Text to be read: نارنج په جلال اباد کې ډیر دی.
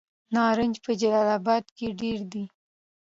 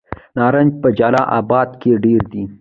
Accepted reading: first